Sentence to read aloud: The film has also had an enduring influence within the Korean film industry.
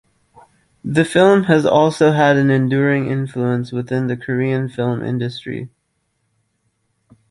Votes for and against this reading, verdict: 2, 0, accepted